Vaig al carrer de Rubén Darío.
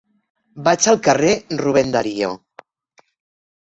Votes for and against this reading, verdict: 1, 2, rejected